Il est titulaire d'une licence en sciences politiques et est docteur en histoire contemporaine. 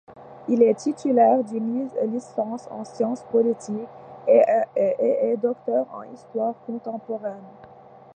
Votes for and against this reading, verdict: 1, 2, rejected